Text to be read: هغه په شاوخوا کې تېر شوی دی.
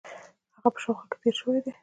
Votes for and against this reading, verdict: 0, 2, rejected